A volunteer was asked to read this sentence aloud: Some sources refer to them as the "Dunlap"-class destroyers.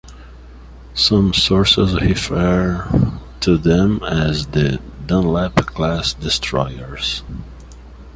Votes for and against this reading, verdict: 2, 0, accepted